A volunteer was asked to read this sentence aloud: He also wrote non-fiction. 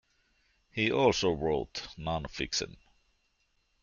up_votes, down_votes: 1, 2